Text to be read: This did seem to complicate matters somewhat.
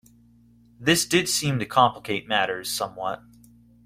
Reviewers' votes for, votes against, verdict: 2, 0, accepted